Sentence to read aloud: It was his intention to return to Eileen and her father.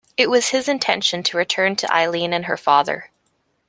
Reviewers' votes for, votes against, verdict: 2, 0, accepted